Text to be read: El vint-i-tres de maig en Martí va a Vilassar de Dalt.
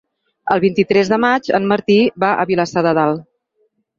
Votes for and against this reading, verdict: 6, 0, accepted